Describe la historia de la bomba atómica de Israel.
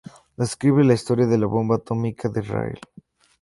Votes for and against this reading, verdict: 2, 0, accepted